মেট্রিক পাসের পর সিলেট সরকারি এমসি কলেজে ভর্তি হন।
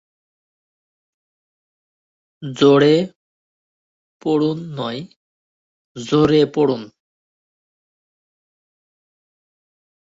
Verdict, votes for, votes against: rejected, 0, 2